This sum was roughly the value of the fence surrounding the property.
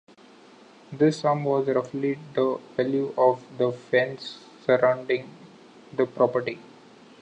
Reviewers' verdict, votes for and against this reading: rejected, 0, 2